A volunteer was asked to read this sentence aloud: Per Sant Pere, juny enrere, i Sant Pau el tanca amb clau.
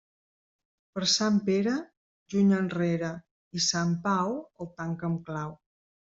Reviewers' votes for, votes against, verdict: 2, 1, accepted